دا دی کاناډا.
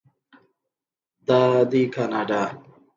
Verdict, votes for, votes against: accepted, 2, 1